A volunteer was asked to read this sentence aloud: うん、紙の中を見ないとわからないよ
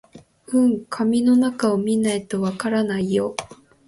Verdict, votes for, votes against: accepted, 2, 1